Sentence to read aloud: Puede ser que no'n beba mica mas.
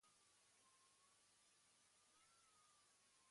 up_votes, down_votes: 1, 2